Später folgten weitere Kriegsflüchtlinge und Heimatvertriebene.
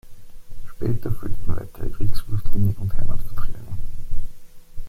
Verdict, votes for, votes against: rejected, 1, 2